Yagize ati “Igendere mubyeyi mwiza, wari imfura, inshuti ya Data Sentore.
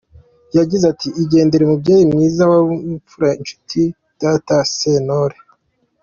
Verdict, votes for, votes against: accepted, 2, 0